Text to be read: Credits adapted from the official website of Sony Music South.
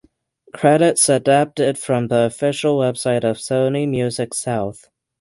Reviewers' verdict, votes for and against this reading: accepted, 6, 0